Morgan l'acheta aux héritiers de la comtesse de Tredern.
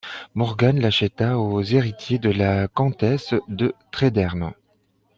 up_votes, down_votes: 1, 2